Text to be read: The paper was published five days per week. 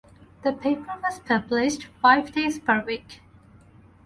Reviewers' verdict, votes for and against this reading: accepted, 2, 0